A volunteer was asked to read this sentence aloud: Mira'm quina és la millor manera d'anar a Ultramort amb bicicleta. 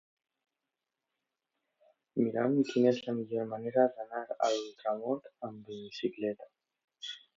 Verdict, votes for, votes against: rejected, 1, 2